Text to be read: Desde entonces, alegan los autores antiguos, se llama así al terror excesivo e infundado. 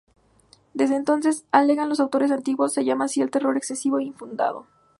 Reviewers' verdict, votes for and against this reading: accepted, 2, 0